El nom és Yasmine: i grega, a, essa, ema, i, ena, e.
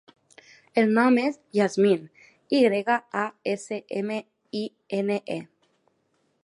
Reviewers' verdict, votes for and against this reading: rejected, 0, 2